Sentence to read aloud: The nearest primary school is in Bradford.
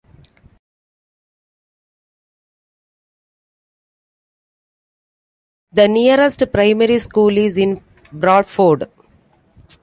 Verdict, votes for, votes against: rejected, 1, 2